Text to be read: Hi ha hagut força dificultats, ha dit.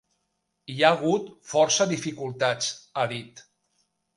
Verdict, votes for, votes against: accepted, 2, 0